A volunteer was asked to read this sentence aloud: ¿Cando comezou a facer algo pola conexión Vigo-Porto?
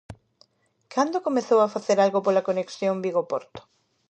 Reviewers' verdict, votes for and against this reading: accepted, 2, 0